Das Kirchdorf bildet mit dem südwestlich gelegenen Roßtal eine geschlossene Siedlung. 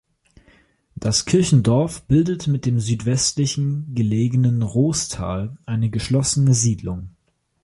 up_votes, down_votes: 0, 2